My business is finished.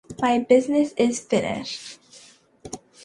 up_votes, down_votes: 2, 1